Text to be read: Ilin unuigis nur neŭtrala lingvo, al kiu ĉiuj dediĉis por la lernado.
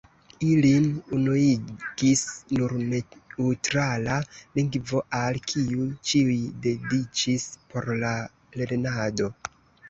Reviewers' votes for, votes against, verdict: 0, 3, rejected